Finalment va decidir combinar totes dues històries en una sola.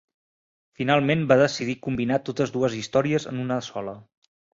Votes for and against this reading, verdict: 1, 2, rejected